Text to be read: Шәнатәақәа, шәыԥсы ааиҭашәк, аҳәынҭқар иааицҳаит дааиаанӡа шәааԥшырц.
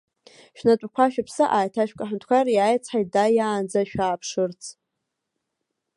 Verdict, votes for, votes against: accepted, 2, 1